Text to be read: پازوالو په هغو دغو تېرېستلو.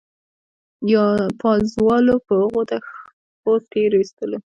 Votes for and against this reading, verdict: 2, 0, accepted